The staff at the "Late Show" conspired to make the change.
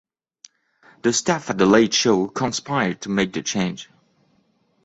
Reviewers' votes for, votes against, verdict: 2, 0, accepted